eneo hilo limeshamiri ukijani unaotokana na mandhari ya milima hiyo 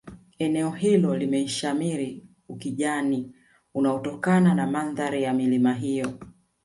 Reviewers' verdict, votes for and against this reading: accepted, 2, 1